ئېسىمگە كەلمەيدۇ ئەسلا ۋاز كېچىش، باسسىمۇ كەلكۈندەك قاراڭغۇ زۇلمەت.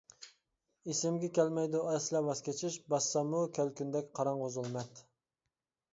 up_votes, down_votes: 1, 2